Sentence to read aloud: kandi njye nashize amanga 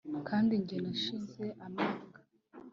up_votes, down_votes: 2, 0